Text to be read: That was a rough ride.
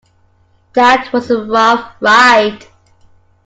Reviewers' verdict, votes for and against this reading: accepted, 2, 0